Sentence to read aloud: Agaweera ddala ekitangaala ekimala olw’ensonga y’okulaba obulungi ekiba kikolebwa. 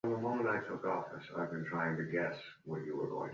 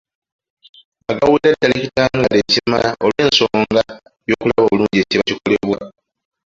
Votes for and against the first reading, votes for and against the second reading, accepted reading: 0, 2, 2, 1, second